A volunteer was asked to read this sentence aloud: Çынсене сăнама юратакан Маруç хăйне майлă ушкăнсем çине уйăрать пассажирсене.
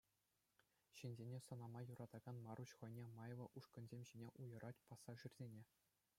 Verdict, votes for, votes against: accepted, 2, 0